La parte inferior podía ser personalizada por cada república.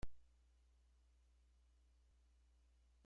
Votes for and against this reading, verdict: 0, 2, rejected